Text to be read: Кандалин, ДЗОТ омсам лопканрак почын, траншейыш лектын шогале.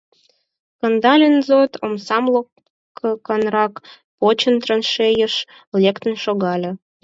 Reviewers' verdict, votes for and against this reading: rejected, 2, 4